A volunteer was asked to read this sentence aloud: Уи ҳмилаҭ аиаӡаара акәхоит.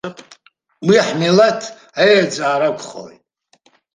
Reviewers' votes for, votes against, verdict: 1, 2, rejected